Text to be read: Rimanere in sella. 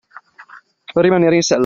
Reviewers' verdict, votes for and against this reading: rejected, 1, 2